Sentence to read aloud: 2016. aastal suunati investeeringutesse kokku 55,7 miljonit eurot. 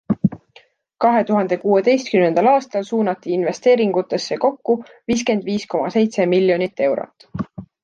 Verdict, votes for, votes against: rejected, 0, 2